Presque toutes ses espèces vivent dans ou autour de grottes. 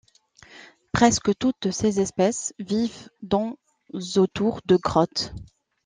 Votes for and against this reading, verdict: 2, 0, accepted